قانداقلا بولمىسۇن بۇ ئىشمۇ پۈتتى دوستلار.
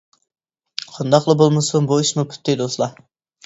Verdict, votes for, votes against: accepted, 2, 0